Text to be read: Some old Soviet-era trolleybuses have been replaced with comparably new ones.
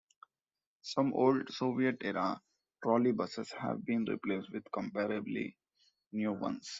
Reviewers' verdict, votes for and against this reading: accepted, 2, 0